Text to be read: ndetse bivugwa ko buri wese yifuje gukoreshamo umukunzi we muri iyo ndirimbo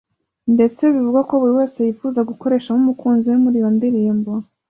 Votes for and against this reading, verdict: 2, 1, accepted